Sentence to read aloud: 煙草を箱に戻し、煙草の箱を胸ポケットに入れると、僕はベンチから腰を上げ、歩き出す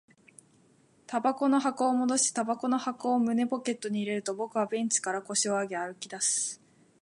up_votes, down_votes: 0, 2